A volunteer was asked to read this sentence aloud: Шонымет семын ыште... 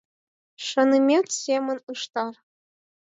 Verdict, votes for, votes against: rejected, 0, 4